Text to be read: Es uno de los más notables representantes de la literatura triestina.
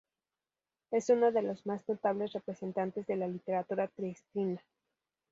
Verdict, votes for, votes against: rejected, 0, 2